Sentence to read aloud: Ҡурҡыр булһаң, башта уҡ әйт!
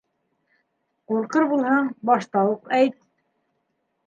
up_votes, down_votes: 2, 0